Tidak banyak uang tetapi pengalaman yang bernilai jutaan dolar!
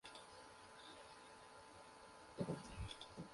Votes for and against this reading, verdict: 0, 2, rejected